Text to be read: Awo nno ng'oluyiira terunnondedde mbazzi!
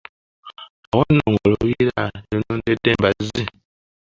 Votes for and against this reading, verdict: 1, 2, rejected